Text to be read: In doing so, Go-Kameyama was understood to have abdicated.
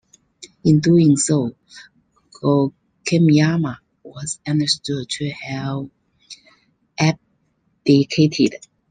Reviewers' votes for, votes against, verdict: 0, 2, rejected